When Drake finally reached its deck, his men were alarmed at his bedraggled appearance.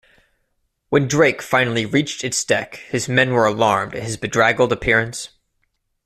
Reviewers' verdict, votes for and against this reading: accepted, 2, 1